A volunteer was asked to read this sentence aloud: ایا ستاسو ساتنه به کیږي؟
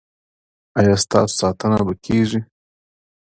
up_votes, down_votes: 2, 0